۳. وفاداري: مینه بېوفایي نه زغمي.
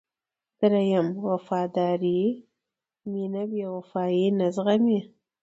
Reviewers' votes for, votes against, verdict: 0, 2, rejected